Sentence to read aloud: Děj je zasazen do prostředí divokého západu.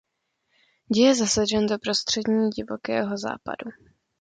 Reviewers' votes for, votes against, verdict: 0, 2, rejected